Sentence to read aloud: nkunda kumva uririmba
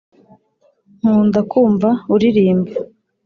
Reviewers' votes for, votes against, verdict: 2, 0, accepted